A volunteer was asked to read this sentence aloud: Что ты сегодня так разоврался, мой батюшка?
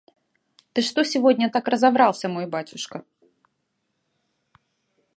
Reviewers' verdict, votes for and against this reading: rejected, 0, 2